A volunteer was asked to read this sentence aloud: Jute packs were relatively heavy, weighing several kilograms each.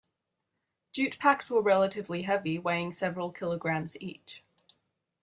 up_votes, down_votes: 1, 2